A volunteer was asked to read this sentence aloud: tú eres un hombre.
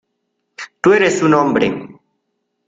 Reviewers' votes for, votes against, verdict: 2, 0, accepted